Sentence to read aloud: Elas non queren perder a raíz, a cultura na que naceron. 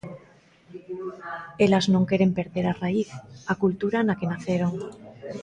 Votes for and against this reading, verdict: 2, 0, accepted